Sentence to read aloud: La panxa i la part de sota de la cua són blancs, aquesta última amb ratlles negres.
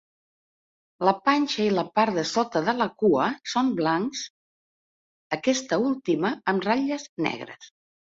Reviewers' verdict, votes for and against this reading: accepted, 3, 0